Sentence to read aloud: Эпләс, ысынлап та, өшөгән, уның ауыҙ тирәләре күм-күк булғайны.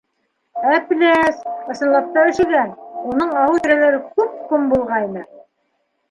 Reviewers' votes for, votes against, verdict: 0, 2, rejected